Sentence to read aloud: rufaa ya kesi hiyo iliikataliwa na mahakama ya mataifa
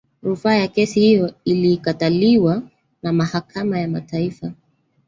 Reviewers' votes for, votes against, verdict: 1, 2, rejected